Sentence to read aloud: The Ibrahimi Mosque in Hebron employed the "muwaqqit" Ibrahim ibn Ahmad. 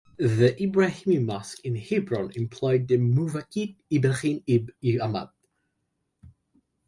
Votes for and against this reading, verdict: 1, 2, rejected